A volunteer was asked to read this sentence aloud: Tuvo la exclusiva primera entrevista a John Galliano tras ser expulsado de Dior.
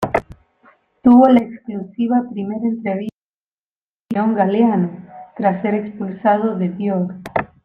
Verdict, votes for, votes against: rejected, 0, 2